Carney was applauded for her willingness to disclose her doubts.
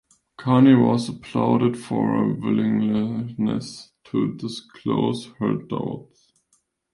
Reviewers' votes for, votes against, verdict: 1, 2, rejected